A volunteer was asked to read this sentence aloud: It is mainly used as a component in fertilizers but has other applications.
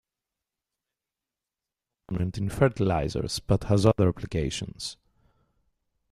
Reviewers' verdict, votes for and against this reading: rejected, 1, 2